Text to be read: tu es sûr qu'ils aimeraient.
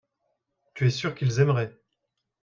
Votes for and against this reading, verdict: 2, 0, accepted